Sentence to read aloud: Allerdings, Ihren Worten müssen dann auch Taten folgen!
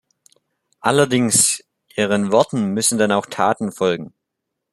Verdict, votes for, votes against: accepted, 2, 0